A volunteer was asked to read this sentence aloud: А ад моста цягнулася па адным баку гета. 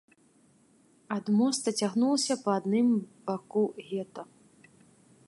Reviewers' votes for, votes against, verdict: 0, 2, rejected